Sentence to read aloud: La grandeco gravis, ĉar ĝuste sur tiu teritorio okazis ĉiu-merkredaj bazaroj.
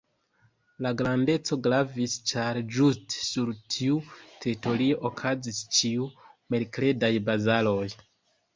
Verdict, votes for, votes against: rejected, 0, 2